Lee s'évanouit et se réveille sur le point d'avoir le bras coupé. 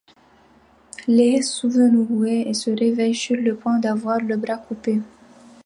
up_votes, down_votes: 2, 1